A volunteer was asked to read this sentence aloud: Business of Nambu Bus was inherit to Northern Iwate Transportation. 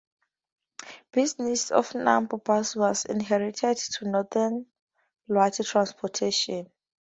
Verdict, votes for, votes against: rejected, 0, 2